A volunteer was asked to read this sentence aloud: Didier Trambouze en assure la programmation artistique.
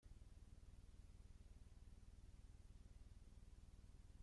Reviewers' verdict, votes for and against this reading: rejected, 0, 2